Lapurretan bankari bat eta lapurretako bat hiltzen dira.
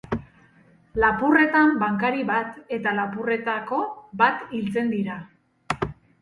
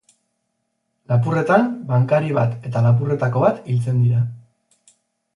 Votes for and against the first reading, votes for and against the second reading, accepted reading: 2, 4, 4, 0, second